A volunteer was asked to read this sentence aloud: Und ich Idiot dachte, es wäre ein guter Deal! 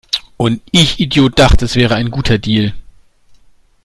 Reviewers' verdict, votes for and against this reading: accepted, 2, 0